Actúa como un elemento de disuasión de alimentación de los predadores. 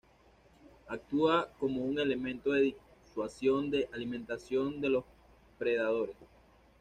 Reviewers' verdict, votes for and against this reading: rejected, 0, 2